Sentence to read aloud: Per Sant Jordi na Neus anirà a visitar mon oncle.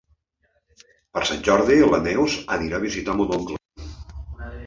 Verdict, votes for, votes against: rejected, 0, 2